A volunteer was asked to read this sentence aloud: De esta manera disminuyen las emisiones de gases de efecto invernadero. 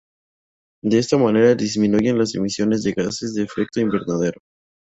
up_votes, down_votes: 0, 2